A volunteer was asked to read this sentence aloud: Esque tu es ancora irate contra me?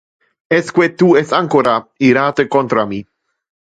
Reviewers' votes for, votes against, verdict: 0, 2, rejected